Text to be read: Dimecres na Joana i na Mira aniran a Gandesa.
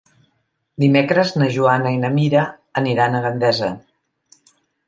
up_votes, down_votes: 4, 0